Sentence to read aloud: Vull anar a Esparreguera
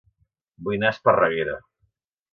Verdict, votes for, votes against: rejected, 2, 4